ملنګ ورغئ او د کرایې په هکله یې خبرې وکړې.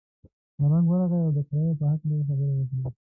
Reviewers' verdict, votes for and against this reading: rejected, 1, 2